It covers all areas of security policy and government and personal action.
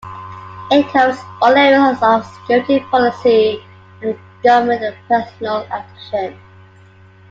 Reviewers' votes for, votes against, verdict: 2, 0, accepted